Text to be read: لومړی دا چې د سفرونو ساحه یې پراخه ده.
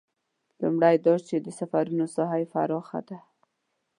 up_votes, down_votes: 1, 2